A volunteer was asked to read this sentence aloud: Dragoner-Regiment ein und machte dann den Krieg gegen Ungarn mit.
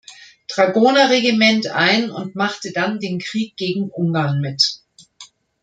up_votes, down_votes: 2, 0